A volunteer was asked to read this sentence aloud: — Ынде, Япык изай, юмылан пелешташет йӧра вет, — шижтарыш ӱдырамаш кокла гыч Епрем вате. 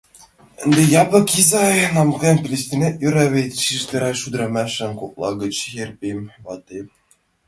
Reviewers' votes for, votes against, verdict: 1, 2, rejected